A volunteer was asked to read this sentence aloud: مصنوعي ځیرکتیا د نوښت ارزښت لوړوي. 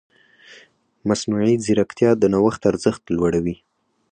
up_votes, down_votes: 4, 0